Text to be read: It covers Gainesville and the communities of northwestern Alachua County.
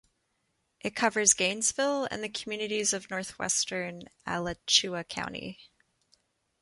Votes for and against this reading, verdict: 2, 0, accepted